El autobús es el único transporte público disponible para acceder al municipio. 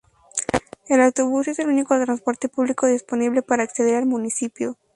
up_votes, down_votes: 2, 0